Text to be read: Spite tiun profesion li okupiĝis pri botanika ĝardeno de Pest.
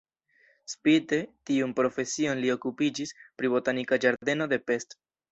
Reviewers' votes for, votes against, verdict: 2, 0, accepted